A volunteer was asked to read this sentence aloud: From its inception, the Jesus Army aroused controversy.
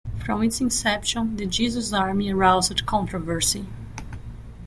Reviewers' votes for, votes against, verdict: 0, 2, rejected